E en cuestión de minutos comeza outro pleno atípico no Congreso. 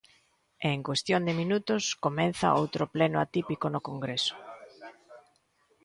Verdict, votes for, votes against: rejected, 1, 2